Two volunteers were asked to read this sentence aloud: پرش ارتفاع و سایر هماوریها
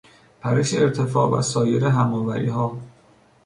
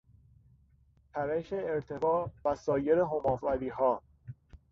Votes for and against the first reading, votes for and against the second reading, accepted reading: 2, 1, 0, 3, first